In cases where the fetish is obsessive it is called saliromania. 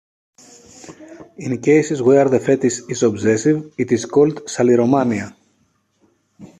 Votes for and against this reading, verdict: 2, 0, accepted